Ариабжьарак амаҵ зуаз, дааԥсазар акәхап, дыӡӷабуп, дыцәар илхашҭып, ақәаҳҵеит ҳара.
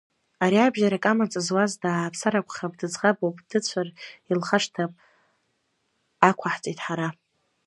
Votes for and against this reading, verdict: 0, 2, rejected